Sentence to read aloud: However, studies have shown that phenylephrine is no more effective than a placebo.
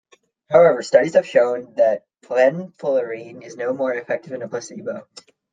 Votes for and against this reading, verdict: 0, 2, rejected